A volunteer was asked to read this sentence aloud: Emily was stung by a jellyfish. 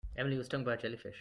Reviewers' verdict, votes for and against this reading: accepted, 2, 1